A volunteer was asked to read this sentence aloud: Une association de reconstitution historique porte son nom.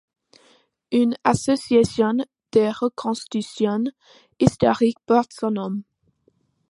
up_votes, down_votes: 2, 1